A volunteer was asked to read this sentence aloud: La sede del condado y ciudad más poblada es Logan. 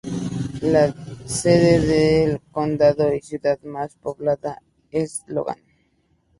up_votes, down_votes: 2, 0